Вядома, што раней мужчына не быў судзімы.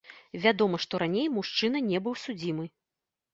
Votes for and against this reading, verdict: 1, 2, rejected